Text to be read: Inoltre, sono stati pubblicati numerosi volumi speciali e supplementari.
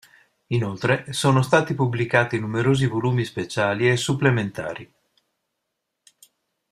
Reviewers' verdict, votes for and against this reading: accepted, 2, 0